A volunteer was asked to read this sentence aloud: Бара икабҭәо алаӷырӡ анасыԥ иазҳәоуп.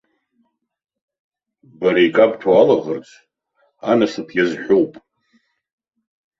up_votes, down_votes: 2, 0